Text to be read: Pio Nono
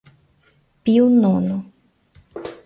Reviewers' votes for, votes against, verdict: 2, 0, accepted